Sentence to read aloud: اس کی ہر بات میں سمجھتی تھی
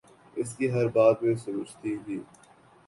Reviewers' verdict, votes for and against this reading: accepted, 2, 1